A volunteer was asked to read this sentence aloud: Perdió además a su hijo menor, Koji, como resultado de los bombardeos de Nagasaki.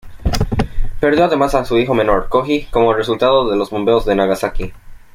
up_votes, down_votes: 1, 2